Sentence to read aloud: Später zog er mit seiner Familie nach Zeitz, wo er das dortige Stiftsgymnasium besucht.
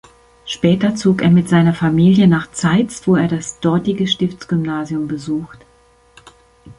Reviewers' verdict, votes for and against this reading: accepted, 2, 0